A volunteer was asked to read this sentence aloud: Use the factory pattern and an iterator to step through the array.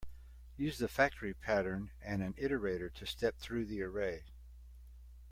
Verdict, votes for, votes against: accepted, 2, 0